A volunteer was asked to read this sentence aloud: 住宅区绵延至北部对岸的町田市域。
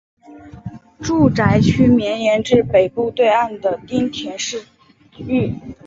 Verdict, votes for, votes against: accepted, 3, 0